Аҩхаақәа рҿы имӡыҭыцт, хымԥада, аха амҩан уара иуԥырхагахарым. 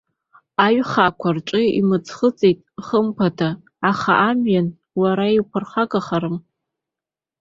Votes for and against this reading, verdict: 0, 2, rejected